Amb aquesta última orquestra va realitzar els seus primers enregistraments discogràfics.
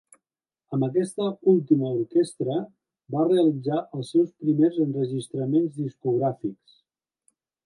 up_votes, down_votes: 3, 0